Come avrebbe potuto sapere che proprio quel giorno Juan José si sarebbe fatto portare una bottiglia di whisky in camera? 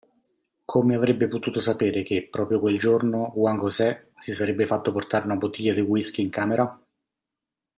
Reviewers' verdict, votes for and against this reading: accepted, 2, 0